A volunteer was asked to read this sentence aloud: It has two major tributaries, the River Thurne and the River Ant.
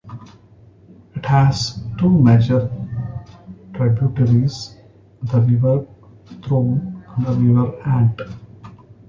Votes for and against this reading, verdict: 2, 0, accepted